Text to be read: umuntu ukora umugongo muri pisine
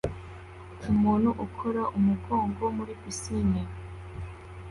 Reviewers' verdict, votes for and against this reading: accepted, 2, 0